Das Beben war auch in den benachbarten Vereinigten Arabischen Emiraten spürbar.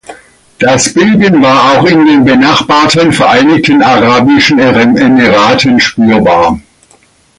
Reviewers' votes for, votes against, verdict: 0, 2, rejected